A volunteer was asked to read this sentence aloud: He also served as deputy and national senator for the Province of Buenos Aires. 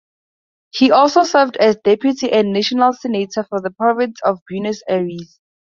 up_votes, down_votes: 2, 0